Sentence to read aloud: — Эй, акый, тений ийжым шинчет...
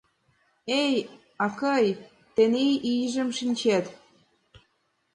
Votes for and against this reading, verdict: 3, 1, accepted